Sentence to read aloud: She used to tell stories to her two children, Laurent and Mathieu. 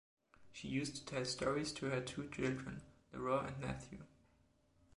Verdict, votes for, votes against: rejected, 1, 2